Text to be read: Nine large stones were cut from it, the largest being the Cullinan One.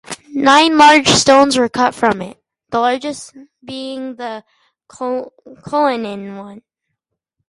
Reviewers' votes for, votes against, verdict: 0, 4, rejected